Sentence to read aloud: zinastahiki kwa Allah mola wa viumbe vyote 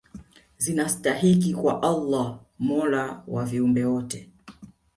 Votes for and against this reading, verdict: 1, 2, rejected